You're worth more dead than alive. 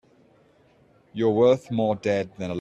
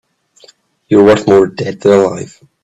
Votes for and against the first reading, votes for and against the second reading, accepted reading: 0, 2, 2, 0, second